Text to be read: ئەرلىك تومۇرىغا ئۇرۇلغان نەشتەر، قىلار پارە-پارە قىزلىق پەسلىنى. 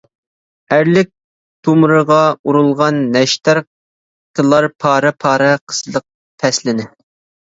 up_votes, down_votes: 1, 2